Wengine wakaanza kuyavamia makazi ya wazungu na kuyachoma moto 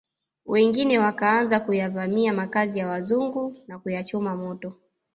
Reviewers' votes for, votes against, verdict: 0, 2, rejected